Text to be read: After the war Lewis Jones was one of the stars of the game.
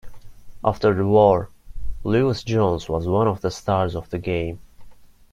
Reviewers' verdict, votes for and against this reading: accepted, 2, 0